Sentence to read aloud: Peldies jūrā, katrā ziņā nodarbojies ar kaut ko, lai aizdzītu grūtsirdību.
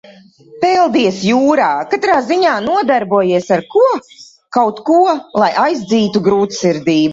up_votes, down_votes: 0, 2